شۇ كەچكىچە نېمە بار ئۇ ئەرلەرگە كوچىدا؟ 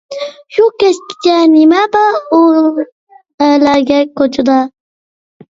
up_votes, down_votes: 0, 2